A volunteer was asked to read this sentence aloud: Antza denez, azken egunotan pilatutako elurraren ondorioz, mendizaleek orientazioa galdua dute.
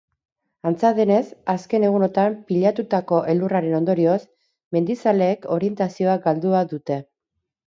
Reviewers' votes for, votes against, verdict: 6, 0, accepted